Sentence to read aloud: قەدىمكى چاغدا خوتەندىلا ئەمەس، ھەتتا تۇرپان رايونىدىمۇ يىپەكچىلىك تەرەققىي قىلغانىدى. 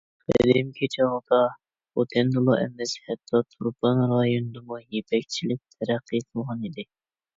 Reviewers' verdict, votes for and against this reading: rejected, 1, 2